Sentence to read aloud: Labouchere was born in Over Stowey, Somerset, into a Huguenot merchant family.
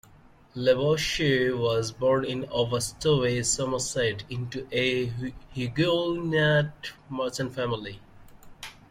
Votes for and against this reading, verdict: 1, 3, rejected